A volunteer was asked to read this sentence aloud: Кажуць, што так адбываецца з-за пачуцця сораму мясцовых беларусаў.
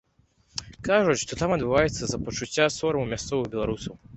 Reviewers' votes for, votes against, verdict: 0, 2, rejected